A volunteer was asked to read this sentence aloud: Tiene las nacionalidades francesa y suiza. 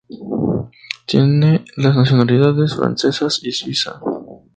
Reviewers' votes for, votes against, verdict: 0, 2, rejected